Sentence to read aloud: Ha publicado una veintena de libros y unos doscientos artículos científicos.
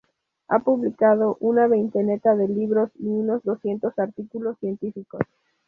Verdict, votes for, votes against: rejected, 2, 2